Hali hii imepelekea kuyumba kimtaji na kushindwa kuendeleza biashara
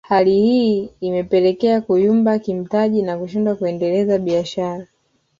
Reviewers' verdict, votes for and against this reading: accepted, 2, 0